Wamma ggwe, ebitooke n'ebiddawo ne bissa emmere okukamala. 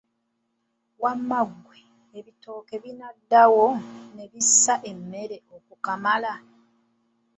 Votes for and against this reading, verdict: 0, 2, rejected